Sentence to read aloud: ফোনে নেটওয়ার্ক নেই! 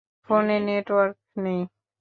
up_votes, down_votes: 2, 1